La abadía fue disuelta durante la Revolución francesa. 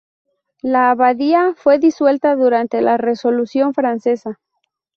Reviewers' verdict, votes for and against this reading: rejected, 0, 2